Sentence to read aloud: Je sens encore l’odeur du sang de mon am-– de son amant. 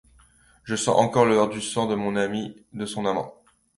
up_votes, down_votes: 2, 0